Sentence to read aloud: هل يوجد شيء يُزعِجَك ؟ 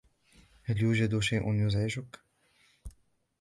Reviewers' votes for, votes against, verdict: 2, 1, accepted